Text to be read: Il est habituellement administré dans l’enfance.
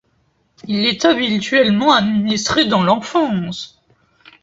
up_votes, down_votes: 2, 0